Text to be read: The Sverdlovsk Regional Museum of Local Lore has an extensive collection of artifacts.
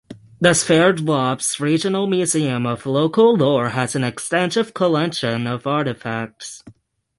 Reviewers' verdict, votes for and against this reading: rejected, 0, 6